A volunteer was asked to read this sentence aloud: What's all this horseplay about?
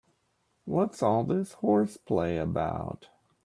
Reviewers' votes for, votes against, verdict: 2, 0, accepted